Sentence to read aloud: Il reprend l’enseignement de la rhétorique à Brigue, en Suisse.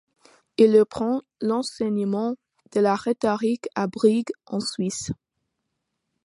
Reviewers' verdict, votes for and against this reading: accepted, 2, 0